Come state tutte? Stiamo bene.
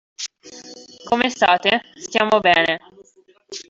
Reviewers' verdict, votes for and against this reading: rejected, 0, 2